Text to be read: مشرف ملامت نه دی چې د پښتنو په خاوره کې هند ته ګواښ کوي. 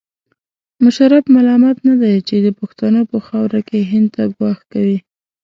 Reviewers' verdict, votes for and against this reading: accepted, 2, 0